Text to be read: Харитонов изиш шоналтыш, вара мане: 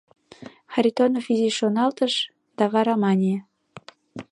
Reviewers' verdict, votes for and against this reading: rejected, 1, 2